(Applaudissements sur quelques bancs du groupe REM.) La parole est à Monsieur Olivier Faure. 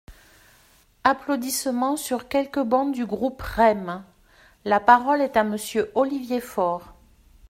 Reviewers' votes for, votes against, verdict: 1, 2, rejected